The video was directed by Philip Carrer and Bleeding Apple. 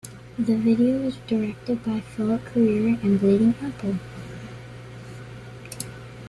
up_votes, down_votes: 0, 2